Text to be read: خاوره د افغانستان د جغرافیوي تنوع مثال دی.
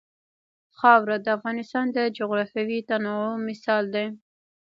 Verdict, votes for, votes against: rejected, 1, 2